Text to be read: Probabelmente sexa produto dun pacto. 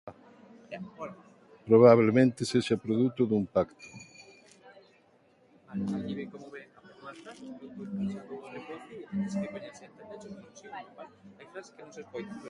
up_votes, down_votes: 0, 2